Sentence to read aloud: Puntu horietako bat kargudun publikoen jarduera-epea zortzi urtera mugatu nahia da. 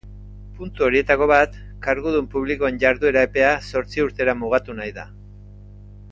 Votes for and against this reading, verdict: 2, 0, accepted